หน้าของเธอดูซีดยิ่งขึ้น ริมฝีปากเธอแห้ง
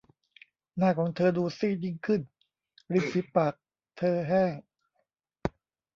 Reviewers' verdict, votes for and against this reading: rejected, 1, 2